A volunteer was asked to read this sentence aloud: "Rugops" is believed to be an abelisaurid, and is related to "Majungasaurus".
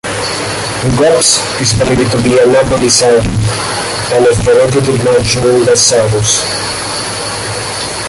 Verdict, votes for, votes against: rejected, 0, 2